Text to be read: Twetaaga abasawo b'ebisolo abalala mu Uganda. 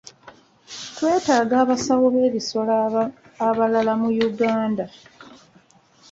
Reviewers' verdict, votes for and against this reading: accepted, 2, 1